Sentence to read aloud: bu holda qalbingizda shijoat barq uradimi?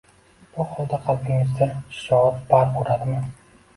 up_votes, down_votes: 0, 2